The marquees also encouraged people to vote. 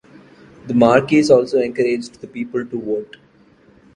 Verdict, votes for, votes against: rejected, 1, 2